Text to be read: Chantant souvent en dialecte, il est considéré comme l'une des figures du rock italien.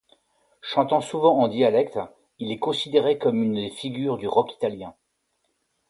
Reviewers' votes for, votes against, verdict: 2, 0, accepted